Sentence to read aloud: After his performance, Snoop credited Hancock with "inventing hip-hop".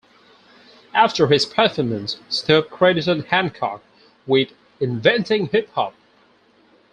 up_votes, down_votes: 0, 4